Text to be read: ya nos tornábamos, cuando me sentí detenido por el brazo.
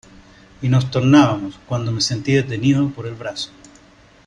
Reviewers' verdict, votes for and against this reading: rejected, 0, 2